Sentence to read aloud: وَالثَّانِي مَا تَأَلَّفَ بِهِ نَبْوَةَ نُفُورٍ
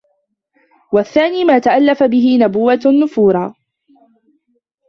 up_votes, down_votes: 0, 2